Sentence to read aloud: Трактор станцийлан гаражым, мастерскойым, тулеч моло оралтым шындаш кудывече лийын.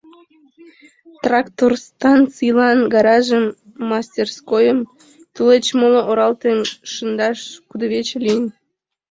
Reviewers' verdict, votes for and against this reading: rejected, 1, 3